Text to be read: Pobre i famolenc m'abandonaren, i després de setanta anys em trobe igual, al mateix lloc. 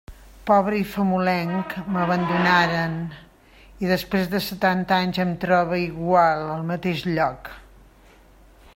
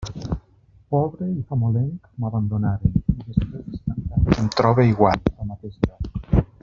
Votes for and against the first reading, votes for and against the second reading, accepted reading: 2, 0, 0, 2, first